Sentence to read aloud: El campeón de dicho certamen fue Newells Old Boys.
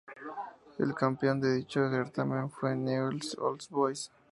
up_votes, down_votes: 2, 0